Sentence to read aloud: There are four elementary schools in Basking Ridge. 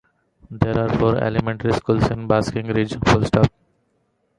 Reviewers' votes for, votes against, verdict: 0, 2, rejected